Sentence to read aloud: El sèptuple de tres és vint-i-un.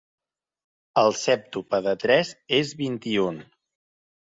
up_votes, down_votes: 0, 2